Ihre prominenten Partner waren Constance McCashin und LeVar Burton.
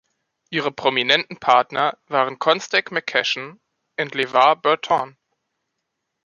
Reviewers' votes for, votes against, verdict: 1, 2, rejected